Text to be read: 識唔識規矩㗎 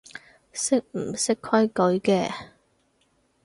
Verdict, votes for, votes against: rejected, 0, 4